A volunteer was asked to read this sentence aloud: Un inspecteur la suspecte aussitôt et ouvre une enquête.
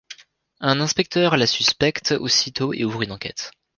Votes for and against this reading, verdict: 2, 0, accepted